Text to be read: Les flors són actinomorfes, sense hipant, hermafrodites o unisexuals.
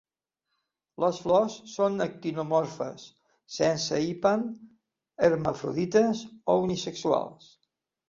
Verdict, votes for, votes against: rejected, 1, 2